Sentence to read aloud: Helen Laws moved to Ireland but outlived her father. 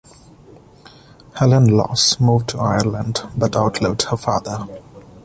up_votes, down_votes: 2, 0